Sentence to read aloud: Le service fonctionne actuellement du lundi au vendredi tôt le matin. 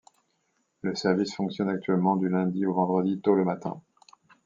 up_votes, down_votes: 2, 0